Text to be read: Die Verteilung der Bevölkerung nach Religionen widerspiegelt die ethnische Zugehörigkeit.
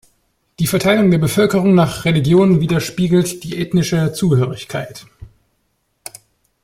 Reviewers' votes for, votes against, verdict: 1, 2, rejected